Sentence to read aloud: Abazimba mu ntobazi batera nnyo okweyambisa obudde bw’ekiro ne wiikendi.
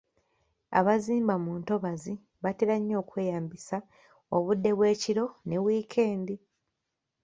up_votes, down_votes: 2, 0